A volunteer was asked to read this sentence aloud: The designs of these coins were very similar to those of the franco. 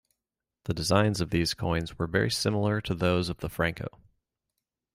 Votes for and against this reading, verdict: 2, 0, accepted